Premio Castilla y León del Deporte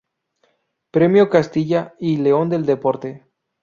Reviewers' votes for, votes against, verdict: 4, 0, accepted